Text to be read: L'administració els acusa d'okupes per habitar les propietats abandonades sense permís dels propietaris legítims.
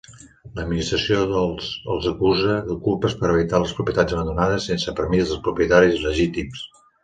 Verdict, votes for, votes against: rejected, 1, 2